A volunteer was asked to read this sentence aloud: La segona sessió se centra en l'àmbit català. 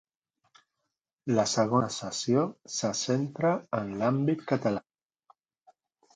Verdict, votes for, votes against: accepted, 2, 0